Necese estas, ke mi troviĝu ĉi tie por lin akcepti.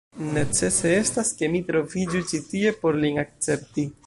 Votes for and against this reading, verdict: 1, 2, rejected